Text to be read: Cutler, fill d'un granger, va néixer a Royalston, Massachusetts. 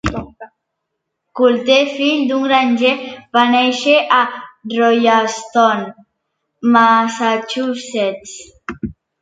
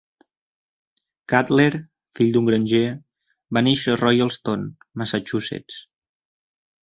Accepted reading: second